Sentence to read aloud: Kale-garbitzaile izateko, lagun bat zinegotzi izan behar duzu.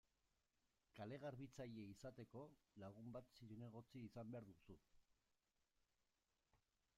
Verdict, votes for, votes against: rejected, 0, 2